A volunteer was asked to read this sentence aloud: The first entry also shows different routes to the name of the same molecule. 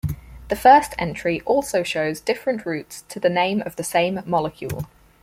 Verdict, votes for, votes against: accepted, 4, 0